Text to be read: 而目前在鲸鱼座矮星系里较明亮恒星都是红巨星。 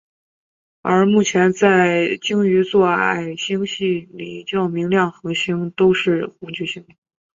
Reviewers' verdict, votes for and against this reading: accepted, 2, 0